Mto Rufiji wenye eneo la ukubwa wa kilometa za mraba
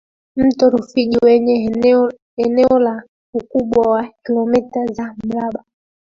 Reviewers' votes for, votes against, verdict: 1, 2, rejected